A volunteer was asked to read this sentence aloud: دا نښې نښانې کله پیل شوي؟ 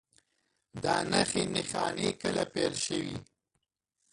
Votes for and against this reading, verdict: 0, 2, rejected